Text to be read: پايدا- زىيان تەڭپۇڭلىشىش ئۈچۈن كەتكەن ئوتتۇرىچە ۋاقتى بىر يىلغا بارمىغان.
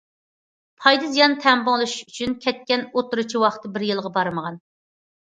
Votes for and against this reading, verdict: 2, 0, accepted